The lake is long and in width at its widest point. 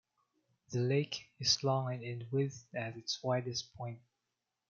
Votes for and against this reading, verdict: 2, 1, accepted